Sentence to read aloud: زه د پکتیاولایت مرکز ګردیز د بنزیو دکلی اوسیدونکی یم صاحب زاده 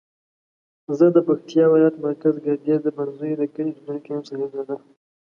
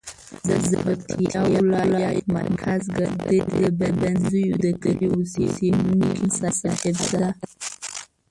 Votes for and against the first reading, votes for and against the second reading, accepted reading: 2, 0, 0, 2, first